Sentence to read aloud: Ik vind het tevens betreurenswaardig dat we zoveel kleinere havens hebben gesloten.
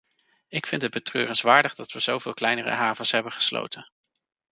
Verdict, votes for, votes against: rejected, 1, 2